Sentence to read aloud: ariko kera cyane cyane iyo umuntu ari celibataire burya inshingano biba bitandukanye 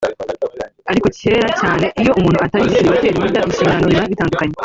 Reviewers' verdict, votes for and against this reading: rejected, 1, 2